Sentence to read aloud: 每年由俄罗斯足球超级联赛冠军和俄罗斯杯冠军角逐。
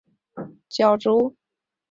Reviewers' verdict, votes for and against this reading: accepted, 5, 4